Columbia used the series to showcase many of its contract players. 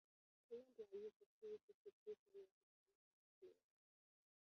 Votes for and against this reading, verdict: 0, 2, rejected